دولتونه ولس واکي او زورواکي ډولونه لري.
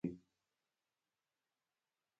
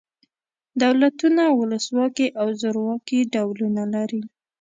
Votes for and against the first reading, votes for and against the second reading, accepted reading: 1, 2, 2, 0, second